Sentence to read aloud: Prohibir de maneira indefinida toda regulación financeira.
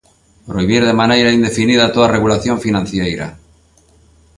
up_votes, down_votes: 1, 2